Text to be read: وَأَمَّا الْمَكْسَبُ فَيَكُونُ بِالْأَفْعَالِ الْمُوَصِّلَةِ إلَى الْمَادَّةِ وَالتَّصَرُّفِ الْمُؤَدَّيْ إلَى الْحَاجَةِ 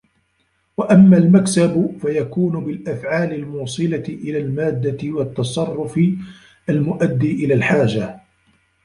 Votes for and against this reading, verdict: 0, 2, rejected